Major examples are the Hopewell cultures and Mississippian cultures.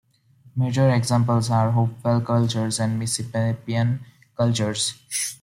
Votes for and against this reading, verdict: 2, 0, accepted